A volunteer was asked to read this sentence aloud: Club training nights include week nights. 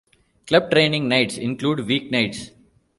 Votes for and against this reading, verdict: 2, 0, accepted